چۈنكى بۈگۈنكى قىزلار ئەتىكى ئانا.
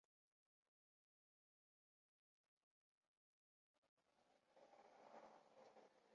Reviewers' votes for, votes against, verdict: 0, 2, rejected